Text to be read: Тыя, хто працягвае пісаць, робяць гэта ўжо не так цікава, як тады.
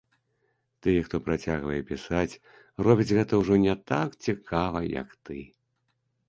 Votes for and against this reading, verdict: 0, 3, rejected